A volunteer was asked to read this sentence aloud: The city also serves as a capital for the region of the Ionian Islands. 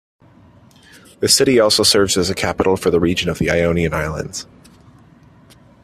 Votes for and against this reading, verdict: 2, 0, accepted